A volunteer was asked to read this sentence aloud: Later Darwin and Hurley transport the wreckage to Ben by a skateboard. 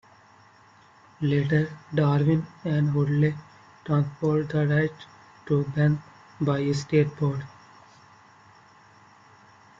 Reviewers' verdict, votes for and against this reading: rejected, 1, 2